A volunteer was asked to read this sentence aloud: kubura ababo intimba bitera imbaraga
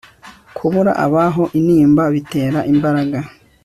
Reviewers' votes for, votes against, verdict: 2, 0, accepted